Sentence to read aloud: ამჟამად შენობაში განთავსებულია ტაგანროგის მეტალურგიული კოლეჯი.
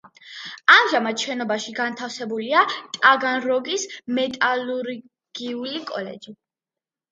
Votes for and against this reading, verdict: 2, 0, accepted